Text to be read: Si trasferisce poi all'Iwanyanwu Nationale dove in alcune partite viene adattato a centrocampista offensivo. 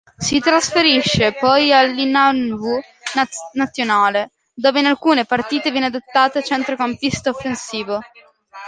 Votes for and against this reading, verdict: 0, 2, rejected